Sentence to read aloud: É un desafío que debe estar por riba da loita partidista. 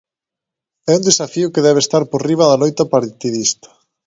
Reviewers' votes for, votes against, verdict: 1, 2, rejected